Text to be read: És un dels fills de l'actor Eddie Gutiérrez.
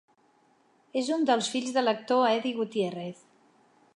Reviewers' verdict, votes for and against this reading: accepted, 2, 0